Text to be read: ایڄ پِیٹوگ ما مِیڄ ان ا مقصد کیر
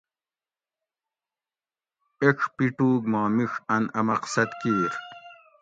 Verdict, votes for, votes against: accepted, 2, 0